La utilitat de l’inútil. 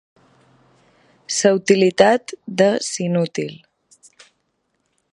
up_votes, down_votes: 0, 2